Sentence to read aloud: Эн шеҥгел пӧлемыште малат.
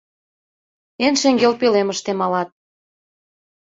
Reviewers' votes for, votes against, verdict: 2, 0, accepted